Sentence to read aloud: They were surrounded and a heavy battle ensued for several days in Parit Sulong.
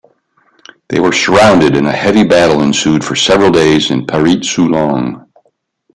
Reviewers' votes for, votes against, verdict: 1, 2, rejected